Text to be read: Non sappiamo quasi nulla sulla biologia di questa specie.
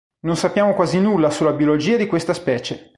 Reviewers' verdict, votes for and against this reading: accepted, 4, 0